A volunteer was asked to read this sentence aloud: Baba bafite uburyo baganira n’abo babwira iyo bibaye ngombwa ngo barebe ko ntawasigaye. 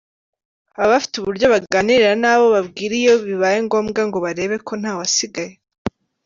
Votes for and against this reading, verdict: 2, 0, accepted